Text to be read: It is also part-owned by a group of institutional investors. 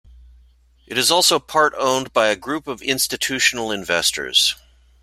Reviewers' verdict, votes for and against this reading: accepted, 2, 0